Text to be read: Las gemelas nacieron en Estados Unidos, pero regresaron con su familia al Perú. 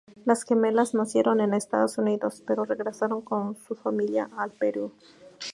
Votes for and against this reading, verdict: 4, 0, accepted